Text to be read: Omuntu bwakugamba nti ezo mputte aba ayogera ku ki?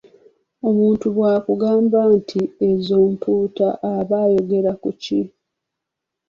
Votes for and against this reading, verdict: 1, 2, rejected